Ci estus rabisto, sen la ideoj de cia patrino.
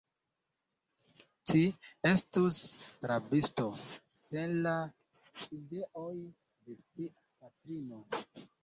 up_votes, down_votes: 1, 2